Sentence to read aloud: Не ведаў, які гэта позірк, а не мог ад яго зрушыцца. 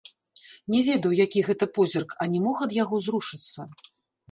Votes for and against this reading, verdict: 0, 2, rejected